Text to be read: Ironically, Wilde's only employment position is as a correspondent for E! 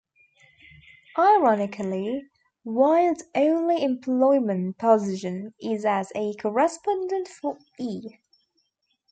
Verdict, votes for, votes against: accepted, 2, 1